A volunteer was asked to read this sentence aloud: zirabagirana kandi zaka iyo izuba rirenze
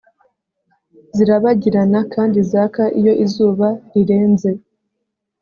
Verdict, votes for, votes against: accepted, 2, 0